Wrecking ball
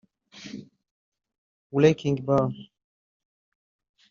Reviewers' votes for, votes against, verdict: 0, 3, rejected